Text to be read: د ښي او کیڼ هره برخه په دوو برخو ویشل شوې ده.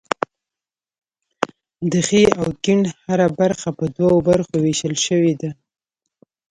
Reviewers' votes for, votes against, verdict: 1, 2, rejected